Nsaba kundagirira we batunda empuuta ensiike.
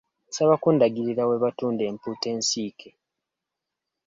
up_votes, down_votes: 2, 0